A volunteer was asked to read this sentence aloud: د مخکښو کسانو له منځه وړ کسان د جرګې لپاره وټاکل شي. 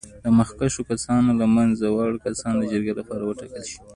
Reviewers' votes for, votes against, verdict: 2, 0, accepted